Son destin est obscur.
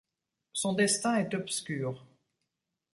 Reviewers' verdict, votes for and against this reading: accepted, 2, 0